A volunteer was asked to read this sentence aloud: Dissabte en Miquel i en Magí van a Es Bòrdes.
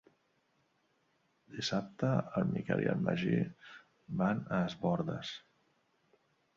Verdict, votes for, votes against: accepted, 3, 1